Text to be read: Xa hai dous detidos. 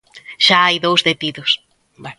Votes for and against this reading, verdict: 0, 2, rejected